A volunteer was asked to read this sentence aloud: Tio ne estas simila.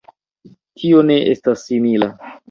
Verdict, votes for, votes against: accepted, 2, 0